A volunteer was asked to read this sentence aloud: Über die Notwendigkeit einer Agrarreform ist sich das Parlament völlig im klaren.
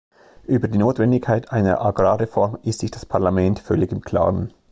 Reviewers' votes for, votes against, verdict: 2, 0, accepted